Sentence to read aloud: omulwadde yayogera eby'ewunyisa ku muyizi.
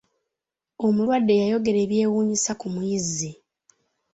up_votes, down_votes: 2, 1